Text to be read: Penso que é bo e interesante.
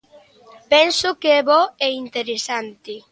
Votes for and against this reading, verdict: 2, 0, accepted